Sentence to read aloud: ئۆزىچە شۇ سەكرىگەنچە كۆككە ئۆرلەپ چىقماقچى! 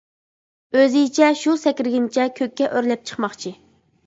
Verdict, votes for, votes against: rejected, 0, 2